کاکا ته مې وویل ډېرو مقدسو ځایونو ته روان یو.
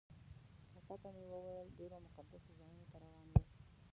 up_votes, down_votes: 0, 2